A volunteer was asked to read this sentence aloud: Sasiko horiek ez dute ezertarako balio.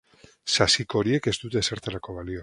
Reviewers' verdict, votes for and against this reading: rejected, 0, 2